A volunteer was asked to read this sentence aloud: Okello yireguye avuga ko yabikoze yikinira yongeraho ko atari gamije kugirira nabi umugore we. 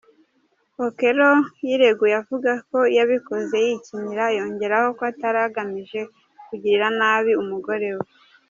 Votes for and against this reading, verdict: 0, 2, rejected